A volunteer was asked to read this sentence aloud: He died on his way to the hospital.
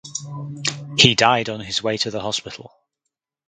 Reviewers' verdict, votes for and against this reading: accepted, 4, 0